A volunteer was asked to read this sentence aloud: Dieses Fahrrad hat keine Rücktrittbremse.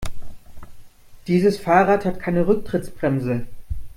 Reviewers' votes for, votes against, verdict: 0, 2, rejected